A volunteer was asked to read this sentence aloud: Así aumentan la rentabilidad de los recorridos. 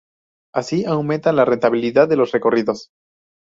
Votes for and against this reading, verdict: 4, 0, accepted